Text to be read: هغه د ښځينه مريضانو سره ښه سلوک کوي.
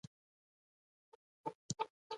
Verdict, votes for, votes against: rejected, 0, 2